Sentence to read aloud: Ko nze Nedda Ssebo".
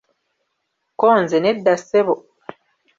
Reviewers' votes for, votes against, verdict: 2, 0, accepted